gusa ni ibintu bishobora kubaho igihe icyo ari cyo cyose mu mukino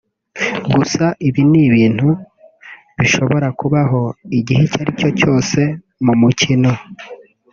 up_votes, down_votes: 0, 2